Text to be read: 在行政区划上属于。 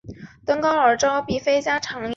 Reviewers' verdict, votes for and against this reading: rejected, 1, 3